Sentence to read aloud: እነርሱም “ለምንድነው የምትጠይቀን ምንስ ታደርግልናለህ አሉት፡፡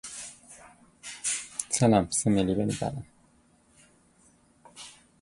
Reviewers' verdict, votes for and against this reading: rejected, 0, 2